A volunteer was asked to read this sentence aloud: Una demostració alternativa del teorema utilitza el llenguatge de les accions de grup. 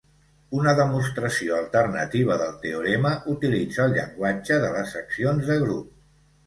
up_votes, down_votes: 2, 0